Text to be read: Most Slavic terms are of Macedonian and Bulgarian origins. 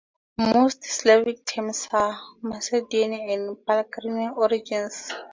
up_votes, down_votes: 0, 4